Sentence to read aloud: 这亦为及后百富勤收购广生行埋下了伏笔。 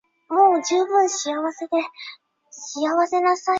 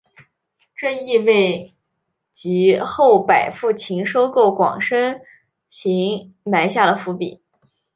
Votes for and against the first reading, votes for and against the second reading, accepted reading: 0, 2, 2, 0, second